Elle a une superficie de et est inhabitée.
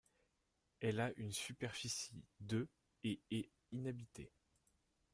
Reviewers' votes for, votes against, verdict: 2, 1, accepted